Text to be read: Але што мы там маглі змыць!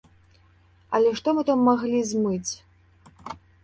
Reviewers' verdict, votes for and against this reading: accepted, 2, 0